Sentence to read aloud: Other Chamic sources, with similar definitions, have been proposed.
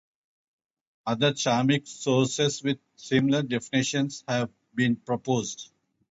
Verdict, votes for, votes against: accepted, 2, 0